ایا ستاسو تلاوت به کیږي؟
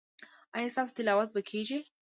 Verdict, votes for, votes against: accepted, 2, 1